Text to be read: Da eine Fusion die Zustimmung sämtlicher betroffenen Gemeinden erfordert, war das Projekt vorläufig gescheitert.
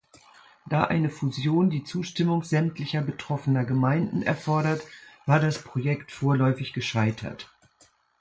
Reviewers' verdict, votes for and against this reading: rejected, 1, 2